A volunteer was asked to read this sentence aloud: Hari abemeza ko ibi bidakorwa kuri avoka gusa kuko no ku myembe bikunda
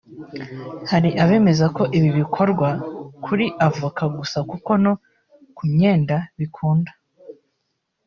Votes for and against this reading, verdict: 0, 2, rejected